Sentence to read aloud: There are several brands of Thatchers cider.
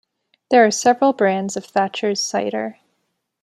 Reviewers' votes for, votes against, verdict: 2, 0, accepted